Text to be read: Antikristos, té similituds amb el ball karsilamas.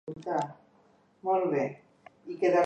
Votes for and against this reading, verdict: 0, 2, rejected